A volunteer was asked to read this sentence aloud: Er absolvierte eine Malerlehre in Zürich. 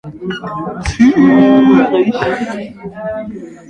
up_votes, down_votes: 0, 2